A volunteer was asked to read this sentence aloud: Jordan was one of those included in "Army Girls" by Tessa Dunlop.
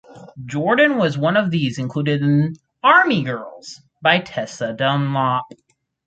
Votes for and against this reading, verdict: 0, 4, rejected